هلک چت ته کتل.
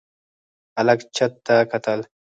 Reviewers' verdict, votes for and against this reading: rejected, 2, 4